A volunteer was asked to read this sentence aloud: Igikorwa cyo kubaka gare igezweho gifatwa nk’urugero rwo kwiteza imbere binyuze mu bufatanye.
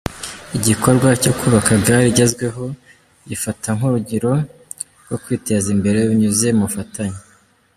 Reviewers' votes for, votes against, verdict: 0, 2, rejected